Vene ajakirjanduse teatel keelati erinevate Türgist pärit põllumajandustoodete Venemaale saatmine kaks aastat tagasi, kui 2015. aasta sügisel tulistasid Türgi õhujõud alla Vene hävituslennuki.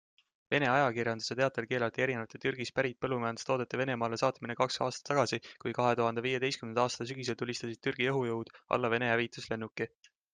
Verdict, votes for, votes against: rejected, 0, 2